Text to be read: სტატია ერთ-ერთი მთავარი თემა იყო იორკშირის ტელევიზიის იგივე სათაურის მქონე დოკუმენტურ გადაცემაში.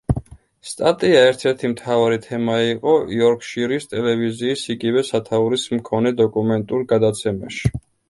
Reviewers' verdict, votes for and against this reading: accepted, 2, 0